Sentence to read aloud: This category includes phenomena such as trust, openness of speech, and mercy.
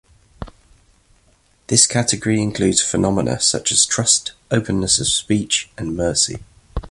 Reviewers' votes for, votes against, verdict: 2, 1, accepted